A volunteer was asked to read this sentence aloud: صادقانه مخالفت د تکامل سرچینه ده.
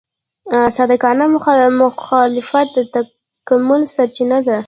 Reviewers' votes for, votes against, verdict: 1, 2, rejected